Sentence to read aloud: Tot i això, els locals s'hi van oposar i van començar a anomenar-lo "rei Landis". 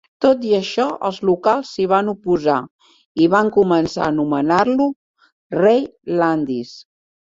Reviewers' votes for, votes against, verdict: 2, 0, accepted